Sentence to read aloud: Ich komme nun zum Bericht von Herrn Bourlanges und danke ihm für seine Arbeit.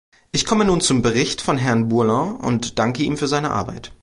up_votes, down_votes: 0, 2